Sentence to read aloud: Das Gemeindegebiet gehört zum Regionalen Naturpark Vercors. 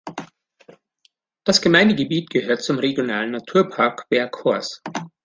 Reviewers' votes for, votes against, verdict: 2, 0, accepted